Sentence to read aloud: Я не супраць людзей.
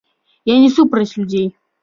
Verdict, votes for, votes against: accepted, 2, 1